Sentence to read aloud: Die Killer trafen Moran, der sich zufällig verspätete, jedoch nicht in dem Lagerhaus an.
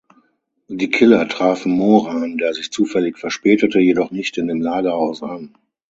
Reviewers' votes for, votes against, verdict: 3, 6, rejected